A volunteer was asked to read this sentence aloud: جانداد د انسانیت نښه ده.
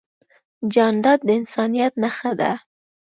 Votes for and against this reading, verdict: 2, 0, accepted